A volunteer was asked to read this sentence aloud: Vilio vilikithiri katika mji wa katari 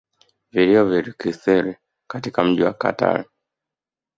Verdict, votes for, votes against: rejected, 1, 2